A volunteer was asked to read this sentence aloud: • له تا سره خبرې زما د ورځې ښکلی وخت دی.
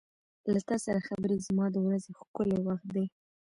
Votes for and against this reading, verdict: 0, 2, rejected